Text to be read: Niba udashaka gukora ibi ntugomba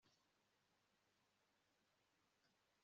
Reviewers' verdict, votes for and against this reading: rejected, 1, 2